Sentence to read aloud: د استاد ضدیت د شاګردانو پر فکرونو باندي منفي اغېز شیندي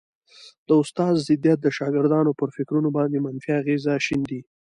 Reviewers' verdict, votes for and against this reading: accepted, 2, 1